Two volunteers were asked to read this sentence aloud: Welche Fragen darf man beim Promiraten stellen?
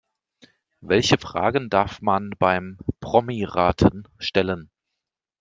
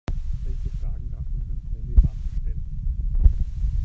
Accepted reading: first